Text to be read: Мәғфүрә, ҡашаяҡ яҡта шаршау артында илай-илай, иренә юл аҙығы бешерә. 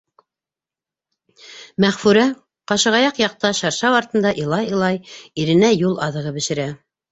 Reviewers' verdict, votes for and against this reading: rejected, 0, 2